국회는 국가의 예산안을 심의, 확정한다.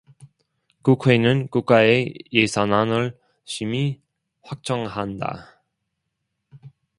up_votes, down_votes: 1, 2